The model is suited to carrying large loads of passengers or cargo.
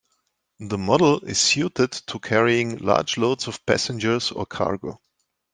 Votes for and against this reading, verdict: 2, 1, accepted